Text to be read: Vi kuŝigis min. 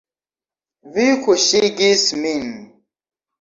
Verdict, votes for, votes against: rejected, 1, 2